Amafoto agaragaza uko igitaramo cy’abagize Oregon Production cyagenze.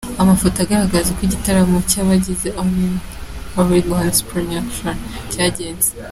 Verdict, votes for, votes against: rejected, 0, 2